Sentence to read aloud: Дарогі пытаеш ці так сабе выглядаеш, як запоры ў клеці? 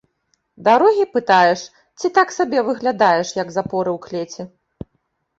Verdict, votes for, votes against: accepted, 2, 0